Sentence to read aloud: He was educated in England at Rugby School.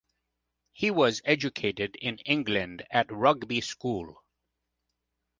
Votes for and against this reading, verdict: 2, 0, accepted